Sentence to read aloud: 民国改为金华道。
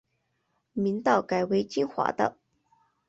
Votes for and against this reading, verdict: 1, 2, rejected